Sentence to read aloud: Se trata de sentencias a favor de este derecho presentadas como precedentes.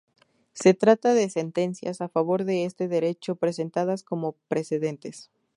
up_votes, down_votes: 2, 0